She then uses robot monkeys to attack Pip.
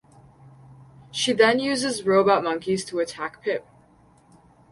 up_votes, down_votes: 6, 0